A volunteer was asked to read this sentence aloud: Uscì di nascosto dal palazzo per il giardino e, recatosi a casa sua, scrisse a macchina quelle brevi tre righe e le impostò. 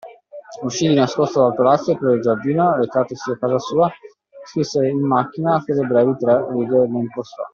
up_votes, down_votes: 0, 2